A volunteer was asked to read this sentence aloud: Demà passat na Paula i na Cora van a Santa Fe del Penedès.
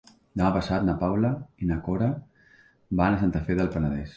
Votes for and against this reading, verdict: 3, 1, accepted